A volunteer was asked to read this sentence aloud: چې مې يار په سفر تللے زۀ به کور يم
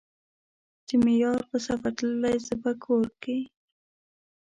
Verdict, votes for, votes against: rejected, 0, 2